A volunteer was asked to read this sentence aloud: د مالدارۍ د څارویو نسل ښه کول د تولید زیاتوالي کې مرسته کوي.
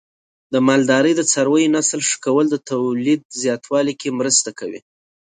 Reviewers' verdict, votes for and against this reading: accepted, 2, 0